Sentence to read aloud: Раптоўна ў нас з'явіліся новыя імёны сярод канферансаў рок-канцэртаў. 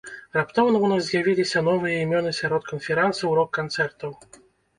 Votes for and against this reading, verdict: 2, 0, accepted